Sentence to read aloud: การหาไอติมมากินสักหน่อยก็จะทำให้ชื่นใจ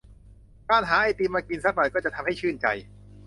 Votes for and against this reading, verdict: 2, 0, accepted